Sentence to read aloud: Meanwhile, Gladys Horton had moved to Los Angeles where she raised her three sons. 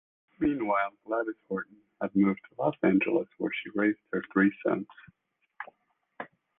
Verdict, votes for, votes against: rejected, 1, 2